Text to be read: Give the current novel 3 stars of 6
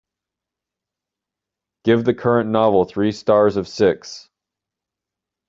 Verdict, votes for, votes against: rejected, 0, 2